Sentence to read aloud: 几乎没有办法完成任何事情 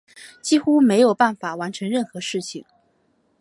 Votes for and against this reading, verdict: 2, 0, accepted